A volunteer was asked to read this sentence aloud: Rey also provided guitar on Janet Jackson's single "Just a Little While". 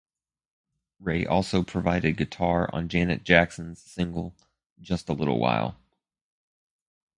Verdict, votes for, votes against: accepted, 4, 0